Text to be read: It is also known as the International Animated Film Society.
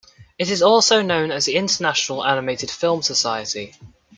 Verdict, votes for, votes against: accepted, 2, 0